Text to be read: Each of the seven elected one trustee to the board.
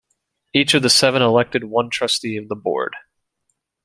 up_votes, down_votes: 1, 2